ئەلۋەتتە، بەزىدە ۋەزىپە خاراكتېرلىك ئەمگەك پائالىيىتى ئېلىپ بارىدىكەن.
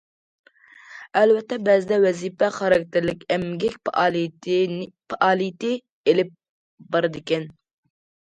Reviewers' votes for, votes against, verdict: 0, 2, rejected